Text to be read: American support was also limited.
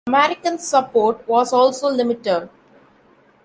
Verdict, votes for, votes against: rejected, 1, 2